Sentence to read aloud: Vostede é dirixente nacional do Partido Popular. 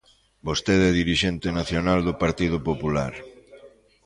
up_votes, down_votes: 1, 2